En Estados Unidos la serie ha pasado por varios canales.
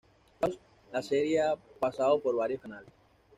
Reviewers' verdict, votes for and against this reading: rejected, 1, 2